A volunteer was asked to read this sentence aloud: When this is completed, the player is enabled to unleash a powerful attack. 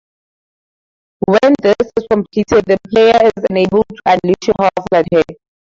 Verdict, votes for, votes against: rejected, 2, 2